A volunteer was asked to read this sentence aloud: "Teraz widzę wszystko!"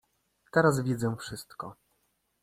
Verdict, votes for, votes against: accepted, 2, 0